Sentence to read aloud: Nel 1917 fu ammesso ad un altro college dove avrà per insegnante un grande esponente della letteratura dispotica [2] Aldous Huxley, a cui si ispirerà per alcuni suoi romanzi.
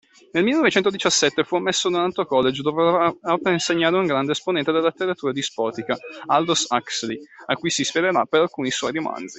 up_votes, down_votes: 0, 2